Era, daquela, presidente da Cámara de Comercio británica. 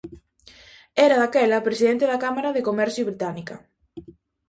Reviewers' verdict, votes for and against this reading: accepted, 2, 0